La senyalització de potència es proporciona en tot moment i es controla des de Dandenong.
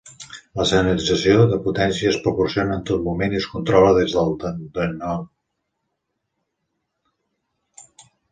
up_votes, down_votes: 0, 2